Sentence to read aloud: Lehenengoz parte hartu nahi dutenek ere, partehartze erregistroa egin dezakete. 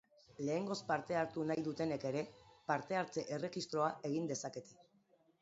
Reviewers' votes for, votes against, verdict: 1, 3, rejected